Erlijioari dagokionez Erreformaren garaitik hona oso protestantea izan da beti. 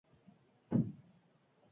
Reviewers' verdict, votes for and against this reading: rejected, 0, 4